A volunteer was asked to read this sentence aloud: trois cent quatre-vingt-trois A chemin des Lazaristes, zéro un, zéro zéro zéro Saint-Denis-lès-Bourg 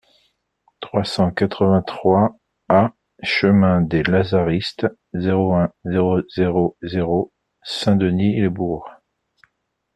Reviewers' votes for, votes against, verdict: 2, 0, accepted